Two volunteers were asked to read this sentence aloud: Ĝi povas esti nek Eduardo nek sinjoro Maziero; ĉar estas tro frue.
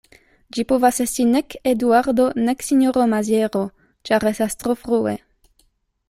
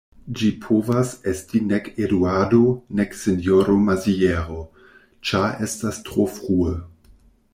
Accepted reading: first